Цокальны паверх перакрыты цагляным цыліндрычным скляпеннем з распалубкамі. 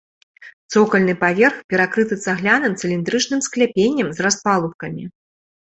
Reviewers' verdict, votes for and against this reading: accepted, 2, 0